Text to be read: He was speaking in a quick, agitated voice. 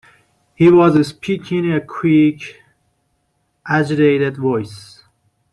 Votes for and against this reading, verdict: 1, 2, rejected